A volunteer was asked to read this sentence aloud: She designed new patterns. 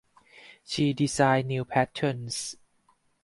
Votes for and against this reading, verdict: 4, 2, accepted